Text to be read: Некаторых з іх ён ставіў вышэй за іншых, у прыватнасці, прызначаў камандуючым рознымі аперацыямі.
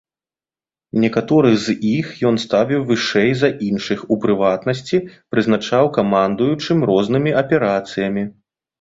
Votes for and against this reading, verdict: 2, 0, accepted